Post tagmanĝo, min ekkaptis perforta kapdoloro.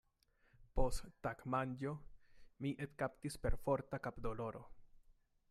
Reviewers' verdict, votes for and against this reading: accepted, 2, 0